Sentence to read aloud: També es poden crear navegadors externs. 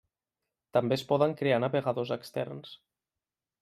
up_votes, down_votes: 0, 2